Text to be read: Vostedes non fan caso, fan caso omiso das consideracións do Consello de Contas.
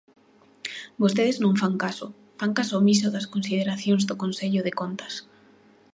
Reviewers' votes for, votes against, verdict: 2, 0, accepted